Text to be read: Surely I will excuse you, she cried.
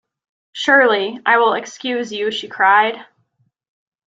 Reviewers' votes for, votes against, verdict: 2, 0, accepted